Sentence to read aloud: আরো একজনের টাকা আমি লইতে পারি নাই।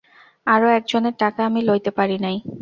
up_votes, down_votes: 2, 0